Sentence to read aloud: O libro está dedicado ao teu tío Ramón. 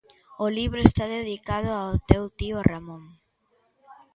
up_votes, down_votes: 2, 0